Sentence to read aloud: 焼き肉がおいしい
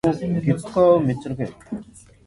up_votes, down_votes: 0, 2